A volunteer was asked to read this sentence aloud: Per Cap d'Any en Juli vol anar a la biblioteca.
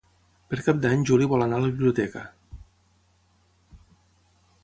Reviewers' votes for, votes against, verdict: 0, 6, rejected